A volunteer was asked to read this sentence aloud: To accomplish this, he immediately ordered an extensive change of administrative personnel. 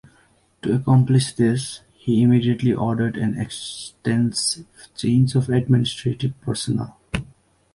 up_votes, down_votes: 1, 2